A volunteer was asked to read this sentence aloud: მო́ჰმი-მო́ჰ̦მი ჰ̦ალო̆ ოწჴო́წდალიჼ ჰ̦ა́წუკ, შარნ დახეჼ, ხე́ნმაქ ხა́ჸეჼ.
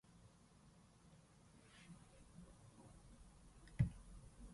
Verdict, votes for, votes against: rejected, 0, 2